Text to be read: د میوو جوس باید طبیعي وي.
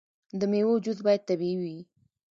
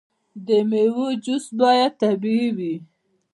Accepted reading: first